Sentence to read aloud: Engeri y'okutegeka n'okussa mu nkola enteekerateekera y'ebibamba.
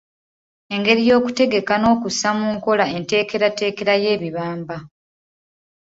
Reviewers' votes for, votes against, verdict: 2, 0, accepted